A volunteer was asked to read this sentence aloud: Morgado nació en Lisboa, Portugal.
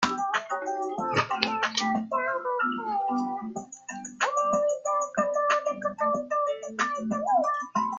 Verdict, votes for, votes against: rejected, 0, 2